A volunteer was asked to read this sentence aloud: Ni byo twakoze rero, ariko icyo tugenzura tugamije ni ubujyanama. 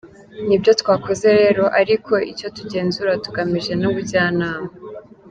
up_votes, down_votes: 2, 0